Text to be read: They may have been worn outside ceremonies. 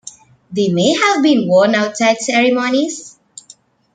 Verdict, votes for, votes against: accepted, 2, 0